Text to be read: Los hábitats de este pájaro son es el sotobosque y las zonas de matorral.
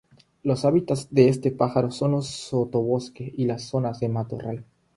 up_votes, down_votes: 0, 3